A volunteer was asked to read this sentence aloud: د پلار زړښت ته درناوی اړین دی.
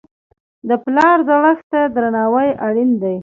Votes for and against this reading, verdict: 2, 0, accepted